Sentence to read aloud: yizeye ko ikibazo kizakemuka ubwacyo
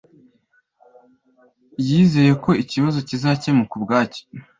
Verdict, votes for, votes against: accepted, 2, 0